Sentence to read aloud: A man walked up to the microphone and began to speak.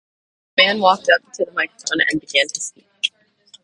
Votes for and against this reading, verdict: 2, 2, rejected